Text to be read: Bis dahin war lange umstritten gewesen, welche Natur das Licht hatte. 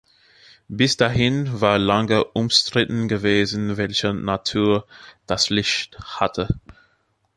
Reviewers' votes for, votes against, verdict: 2, 1, accepted